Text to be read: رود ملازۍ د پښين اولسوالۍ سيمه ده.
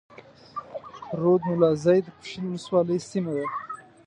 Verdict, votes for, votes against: rejected, 1, 2